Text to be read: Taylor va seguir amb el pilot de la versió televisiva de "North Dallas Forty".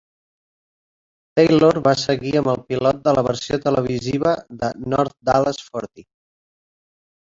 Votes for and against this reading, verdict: 1, 2, rejected